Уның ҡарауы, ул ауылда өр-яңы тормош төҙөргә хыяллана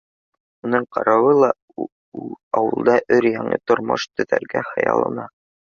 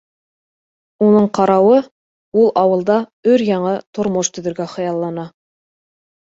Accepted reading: second